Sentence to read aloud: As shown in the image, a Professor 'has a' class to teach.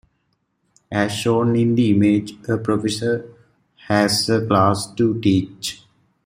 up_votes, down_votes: 2, 0